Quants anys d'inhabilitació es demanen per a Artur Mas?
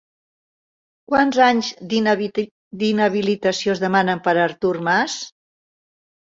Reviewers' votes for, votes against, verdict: 0, 2, rejected